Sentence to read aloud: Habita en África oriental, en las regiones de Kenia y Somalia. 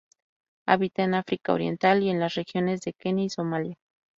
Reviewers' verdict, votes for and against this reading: rejected, 0, 2